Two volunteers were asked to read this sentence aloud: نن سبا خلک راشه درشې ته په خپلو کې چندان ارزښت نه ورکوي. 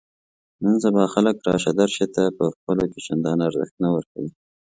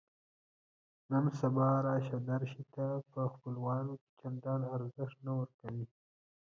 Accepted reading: first